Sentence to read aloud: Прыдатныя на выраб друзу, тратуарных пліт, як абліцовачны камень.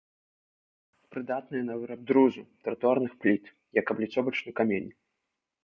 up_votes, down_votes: 0, 2